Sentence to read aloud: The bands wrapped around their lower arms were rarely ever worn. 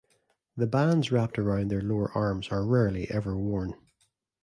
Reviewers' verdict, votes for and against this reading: rejected, 1, 2